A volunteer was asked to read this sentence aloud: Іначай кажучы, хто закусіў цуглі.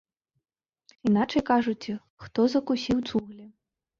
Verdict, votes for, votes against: rejected, 0, 2